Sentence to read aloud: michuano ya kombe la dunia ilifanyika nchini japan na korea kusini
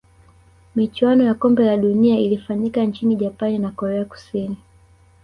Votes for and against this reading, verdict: 1, 2, rejected